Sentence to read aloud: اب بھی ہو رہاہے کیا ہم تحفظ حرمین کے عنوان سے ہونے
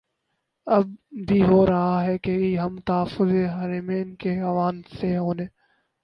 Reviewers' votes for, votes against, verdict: 2, 4, rejected